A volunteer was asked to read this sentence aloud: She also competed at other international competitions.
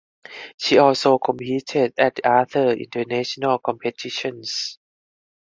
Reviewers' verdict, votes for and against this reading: accepted, 4, 0